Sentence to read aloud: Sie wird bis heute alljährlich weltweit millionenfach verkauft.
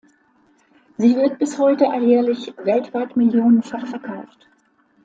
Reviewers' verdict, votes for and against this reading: accepted, 2, 0